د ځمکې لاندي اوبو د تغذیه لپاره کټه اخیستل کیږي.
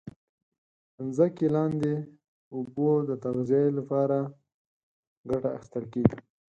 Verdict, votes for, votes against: rejected, 2, 4